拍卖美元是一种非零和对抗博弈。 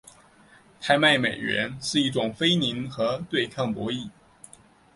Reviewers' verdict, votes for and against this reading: accepted, 2, 0